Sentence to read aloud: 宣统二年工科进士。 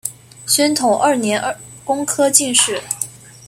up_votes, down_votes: 0, 2